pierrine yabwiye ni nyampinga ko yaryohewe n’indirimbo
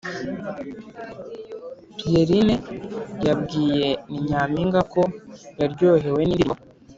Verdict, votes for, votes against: rejected, 1, 2